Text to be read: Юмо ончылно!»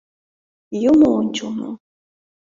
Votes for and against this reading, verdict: 2, 0, accepted